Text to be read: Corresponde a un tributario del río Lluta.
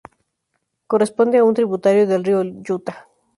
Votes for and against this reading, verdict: 0, 2, rejected